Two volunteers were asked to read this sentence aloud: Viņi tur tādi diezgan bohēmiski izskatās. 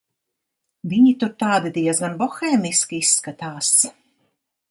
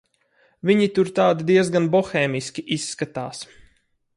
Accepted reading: first